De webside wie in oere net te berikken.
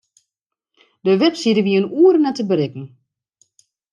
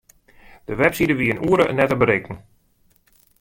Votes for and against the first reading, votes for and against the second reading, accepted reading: 2, 0, 1, 2, first